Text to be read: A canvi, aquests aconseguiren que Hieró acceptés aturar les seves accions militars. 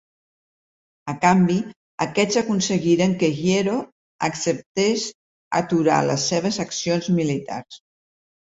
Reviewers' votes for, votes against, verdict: 1, 4, rejected